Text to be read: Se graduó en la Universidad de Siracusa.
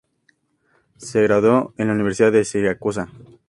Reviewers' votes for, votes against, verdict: 2, 0, accepted